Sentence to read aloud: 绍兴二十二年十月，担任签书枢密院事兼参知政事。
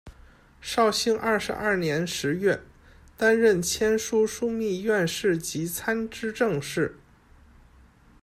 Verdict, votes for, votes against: rejected, 0, 2